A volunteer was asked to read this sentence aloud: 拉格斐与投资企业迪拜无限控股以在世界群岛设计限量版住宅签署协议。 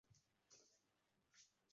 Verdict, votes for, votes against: rejected, 0, 3